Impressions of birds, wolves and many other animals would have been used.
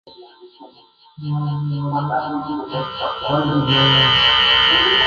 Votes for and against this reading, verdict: 0, 2, rejected